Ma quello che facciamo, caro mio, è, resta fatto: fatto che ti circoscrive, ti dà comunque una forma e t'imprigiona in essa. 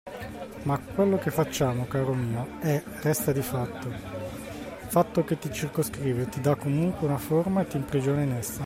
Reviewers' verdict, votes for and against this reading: rejected, 1, 2